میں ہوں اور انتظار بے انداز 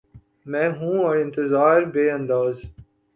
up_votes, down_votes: 3, 0